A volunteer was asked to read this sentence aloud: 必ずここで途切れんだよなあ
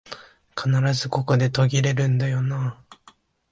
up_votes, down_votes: 2, 1